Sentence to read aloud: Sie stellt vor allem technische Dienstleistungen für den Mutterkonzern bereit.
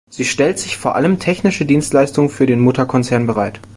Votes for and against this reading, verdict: 0, 2, rejected